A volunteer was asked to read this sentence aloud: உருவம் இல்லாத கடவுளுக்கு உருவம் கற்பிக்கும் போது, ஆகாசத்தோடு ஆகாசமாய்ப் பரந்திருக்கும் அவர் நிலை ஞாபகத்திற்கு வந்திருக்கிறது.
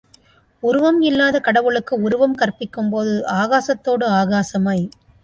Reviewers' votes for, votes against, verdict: 1, 2, rejected